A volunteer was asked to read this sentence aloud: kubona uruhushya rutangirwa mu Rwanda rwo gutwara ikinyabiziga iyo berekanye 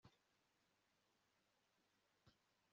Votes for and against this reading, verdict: 1, 2, rejected